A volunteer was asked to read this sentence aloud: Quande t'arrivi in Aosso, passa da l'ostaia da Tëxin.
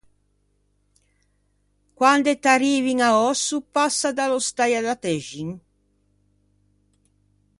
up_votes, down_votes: 0, 2